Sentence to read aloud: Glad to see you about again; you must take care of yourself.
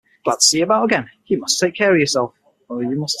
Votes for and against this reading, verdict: 3, 6, rejected